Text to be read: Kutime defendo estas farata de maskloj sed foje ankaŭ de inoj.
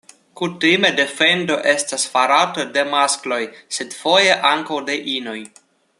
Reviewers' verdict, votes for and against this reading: accepted, 2, 1